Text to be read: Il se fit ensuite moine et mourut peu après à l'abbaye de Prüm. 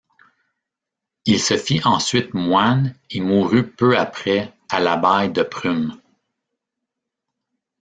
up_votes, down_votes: 0, 2